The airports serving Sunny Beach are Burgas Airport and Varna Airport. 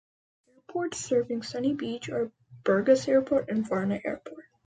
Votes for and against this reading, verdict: 2, 1, accepted